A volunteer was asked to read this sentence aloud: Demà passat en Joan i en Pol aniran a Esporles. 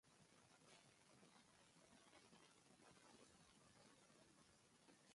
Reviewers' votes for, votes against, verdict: 0, 2, rejected